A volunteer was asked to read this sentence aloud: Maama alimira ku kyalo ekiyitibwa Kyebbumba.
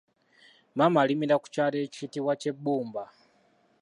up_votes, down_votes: 2, 1